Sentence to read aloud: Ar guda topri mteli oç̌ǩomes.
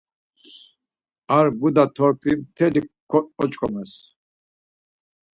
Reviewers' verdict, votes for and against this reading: rejected, 2, 4